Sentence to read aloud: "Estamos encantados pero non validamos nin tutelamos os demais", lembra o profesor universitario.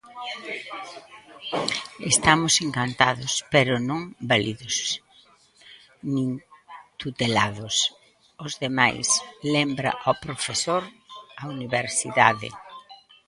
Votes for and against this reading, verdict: 0, 2, rejected